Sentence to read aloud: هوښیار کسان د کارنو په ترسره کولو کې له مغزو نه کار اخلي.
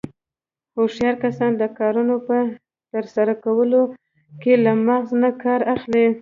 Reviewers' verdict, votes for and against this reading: rejected, 1, 2